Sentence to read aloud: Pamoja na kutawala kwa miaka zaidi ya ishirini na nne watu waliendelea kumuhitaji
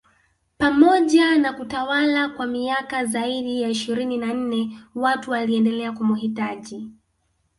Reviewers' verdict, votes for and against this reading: accepted, 2, 0